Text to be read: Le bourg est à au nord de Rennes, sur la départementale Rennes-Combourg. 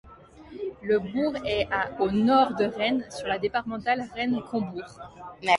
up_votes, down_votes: 2, 0